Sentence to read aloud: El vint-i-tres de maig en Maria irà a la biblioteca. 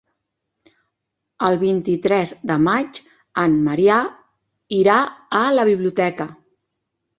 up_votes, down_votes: 2, 3